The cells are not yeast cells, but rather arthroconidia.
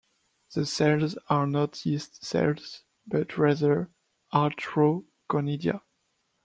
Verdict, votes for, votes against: rejected, 0, 2